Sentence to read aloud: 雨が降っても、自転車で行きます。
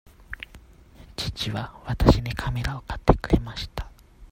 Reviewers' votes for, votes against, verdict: 0, 2, rejected